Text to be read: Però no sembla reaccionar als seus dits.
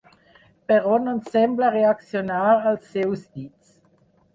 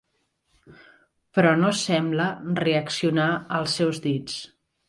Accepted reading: second